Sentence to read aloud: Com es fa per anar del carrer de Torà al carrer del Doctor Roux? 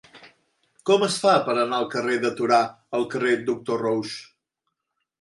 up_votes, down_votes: 1, 2